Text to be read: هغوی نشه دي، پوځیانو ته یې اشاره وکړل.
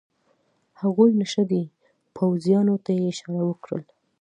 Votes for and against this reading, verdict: 2, 0, accepted